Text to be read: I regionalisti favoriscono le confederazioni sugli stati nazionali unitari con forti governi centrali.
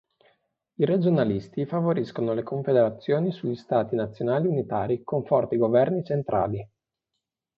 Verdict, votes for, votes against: accepted, 2, 0